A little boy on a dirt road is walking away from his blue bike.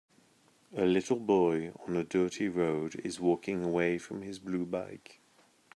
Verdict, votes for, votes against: rejected, 0, 2